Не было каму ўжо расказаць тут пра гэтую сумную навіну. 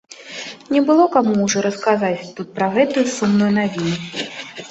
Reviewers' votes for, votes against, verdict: 1, 2, rejected